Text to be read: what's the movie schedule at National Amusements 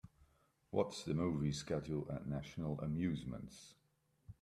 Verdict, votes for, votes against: accepted, 2, 1